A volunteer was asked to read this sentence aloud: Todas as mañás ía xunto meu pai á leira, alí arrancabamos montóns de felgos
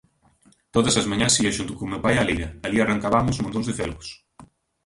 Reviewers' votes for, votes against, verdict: 0, 2, rejected